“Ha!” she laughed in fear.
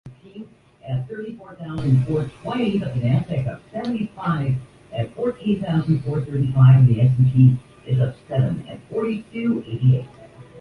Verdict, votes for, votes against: rejected, 0, 2